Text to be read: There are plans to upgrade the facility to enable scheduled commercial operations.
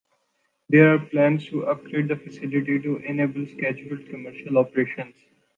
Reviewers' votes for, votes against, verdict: 2, 0, accepted